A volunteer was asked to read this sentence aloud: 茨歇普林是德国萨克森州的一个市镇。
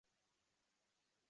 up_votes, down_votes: 0, 2